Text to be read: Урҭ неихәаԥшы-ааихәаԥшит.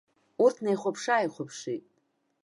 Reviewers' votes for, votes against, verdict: 1, 2, rejected